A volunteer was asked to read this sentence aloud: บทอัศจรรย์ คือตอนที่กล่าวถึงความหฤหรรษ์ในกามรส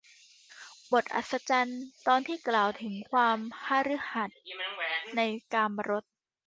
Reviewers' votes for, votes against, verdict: 0, 2, rejected